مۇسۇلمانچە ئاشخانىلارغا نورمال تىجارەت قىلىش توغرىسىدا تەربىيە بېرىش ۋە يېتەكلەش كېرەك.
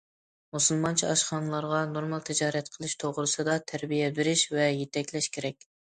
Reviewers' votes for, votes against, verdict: 2, 0, accepted